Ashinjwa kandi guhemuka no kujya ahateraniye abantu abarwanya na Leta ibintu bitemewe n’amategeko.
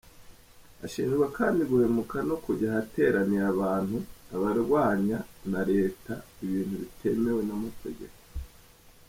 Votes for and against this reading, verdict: 2, 0, accepted